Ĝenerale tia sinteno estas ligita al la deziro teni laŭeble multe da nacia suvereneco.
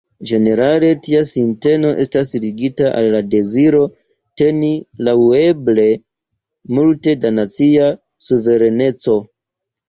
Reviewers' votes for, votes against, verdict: 2, 0, accepted